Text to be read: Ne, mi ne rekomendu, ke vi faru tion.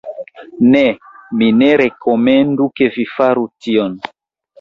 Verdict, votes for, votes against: accepted, 2, 0